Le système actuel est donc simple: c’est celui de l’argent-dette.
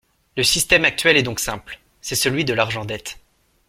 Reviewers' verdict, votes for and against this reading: accepted, 2, 0